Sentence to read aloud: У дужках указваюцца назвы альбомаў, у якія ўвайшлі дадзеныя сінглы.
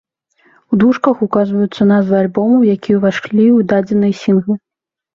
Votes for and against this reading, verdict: 0, 2, rejected